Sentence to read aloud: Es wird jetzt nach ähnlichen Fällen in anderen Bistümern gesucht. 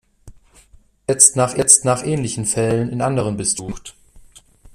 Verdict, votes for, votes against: rejected, 0, 2